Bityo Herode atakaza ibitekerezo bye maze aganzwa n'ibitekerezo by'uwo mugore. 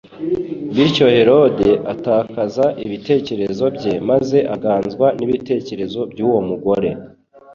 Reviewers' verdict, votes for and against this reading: accepted, 2, 0